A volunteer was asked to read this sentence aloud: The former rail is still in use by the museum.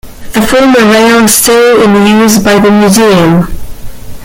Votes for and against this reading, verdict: 1, 2, rejected